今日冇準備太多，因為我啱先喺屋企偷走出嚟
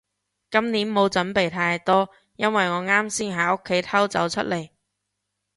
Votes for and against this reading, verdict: 0, 2, rejected